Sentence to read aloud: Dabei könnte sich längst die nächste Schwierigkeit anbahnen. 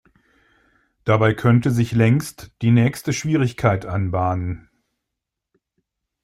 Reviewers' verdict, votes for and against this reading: accepted, 2, 0